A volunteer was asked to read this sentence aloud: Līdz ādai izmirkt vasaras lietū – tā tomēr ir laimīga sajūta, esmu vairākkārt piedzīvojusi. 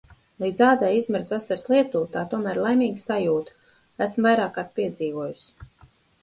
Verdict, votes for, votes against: accepted, 4, 0